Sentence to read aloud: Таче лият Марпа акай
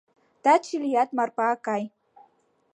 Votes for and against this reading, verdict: 8, 0, accepted